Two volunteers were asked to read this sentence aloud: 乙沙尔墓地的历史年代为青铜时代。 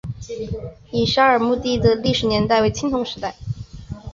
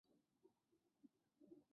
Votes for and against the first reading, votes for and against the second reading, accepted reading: 3, 1, 0, 2, first